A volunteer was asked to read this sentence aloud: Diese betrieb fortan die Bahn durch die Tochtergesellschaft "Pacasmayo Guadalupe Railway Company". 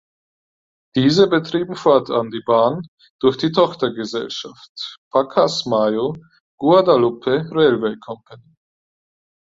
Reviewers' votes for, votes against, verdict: 0, 6, rejected